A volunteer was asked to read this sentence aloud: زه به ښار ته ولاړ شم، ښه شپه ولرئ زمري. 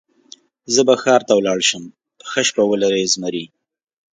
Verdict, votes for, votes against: accepted, 2, 0